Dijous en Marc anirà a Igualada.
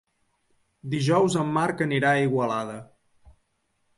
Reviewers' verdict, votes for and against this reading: accepted, 2, 0